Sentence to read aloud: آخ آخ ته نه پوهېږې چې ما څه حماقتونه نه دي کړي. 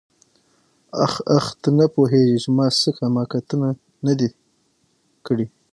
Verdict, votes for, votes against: accepted, 6, 3